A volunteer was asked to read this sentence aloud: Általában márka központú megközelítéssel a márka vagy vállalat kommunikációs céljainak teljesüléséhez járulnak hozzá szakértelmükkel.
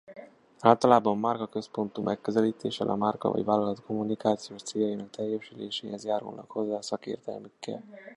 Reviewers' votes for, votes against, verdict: 2, 0, accepted